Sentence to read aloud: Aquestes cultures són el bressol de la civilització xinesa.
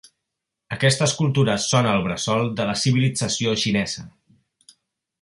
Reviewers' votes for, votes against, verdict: 2, 0, accepted